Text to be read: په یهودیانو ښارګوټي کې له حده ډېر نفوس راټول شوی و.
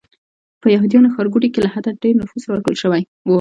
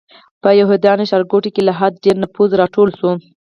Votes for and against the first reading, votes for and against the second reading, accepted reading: 2, 0, 2, 4, first